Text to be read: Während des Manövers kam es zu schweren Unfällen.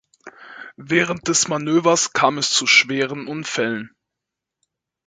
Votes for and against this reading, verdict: 2, 0, accepted